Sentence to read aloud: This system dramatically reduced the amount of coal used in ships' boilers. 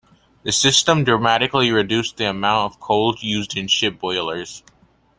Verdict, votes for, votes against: accepted, 2, 1